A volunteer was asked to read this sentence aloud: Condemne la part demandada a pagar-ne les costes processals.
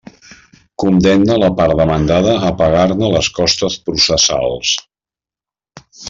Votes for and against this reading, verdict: 2, 0, accepted